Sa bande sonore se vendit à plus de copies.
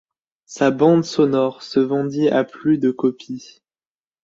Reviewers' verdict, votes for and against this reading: accepted, 2, 1